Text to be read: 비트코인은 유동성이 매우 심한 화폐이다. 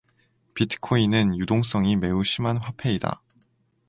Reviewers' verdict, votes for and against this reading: accepted, 2, 0